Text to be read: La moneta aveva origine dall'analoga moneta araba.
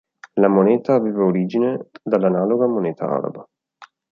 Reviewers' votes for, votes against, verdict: 2, 0, accepted